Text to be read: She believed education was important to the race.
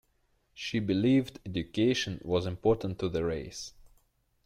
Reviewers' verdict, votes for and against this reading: accepted, 2, 1